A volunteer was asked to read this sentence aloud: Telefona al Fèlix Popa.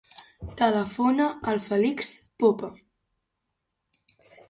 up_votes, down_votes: 1, 3